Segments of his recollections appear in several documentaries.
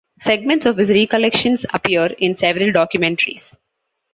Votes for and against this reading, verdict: 2, 0, accepted